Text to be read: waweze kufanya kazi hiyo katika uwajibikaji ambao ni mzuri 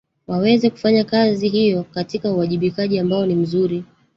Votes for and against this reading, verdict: 0, 2, rejected